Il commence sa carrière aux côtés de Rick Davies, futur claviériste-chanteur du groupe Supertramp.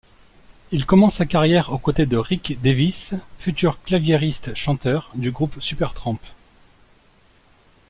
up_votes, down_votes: 2, 0